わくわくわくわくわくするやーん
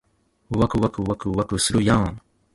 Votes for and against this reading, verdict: 2, 0, accepted